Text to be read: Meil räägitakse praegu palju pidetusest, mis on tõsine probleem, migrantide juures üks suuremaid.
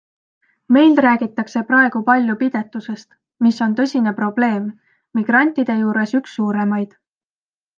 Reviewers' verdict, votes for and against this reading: accepted, 2, 0